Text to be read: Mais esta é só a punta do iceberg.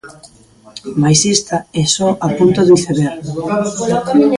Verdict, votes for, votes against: rejected, 0, 2